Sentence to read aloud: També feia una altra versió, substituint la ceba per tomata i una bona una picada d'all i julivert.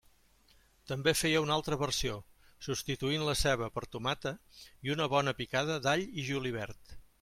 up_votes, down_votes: 2, 1